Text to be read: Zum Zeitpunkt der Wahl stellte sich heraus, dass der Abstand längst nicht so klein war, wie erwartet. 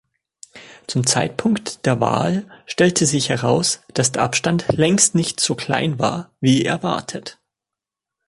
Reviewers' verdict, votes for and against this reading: accepted, 2, 0